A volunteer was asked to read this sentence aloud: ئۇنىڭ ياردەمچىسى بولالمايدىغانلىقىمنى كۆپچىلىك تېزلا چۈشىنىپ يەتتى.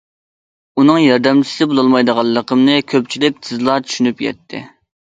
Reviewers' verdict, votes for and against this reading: accepted, 2, 0